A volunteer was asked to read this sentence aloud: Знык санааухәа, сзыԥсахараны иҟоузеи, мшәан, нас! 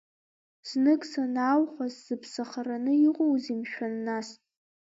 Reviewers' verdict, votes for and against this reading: accepted, 2, 1